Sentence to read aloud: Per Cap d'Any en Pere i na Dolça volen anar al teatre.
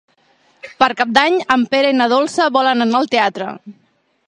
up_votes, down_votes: 3, 0